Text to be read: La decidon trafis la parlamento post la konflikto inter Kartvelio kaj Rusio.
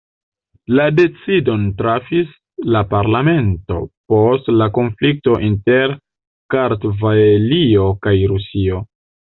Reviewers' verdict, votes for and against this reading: rejected, 1, 2